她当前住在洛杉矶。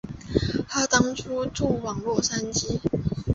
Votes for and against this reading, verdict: 1, 2, rejected